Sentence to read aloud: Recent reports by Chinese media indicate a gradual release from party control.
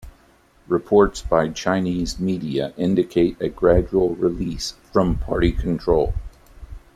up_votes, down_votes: 1, 2